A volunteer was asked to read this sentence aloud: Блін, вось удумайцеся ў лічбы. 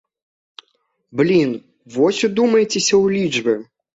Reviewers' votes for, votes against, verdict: 2, 0, accepted